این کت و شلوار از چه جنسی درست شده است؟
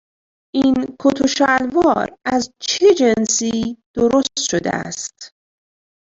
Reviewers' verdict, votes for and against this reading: accepted, 2, 1